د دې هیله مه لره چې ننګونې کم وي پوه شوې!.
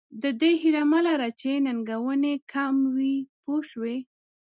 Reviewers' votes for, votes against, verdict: 2, 0, accepted